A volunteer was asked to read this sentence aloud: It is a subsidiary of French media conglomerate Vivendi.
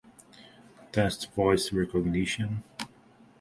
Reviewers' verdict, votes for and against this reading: rejected, 0, 2